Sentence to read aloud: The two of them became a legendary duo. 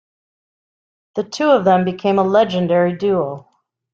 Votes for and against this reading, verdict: 2, 0, accepted